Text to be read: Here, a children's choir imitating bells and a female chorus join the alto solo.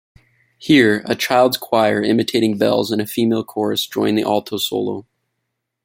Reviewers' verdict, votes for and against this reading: rejected, 1, 2